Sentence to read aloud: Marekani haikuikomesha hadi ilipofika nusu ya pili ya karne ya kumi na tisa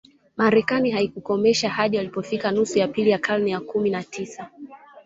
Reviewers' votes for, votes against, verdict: 2, 1, accepted